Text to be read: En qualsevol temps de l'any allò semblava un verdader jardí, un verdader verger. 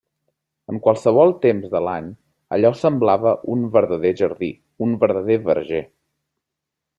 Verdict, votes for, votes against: accepted, 3, 0